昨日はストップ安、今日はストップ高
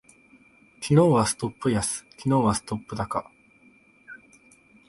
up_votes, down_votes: 1, 2